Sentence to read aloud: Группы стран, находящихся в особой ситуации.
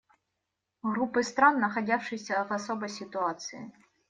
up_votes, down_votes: 1, 2